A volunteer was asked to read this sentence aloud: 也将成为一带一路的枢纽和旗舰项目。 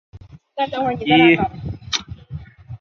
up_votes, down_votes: 0, 2